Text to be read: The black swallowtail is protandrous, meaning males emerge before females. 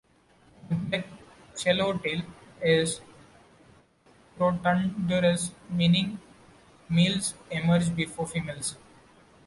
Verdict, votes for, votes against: rejected, 1, 2